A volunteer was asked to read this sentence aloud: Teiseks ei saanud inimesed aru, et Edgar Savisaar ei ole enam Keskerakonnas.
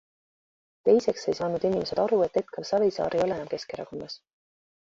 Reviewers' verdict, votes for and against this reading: rejected, 1, 2